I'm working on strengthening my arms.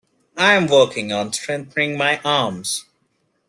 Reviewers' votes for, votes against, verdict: 2, 0, accepted